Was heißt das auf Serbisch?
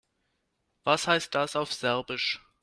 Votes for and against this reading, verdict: 3, 0, accepted